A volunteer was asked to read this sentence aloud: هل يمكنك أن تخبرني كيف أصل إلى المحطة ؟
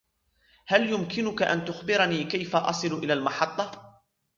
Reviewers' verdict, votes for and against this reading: rejected, 1, 2